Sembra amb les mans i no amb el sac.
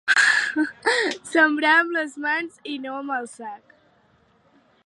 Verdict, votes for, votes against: accepted, 2, 1